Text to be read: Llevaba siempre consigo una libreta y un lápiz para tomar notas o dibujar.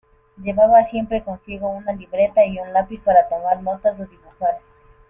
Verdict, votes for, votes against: accepted, 2, 1